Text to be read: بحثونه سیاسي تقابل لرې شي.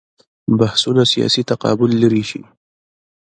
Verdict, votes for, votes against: rejected, 1, 2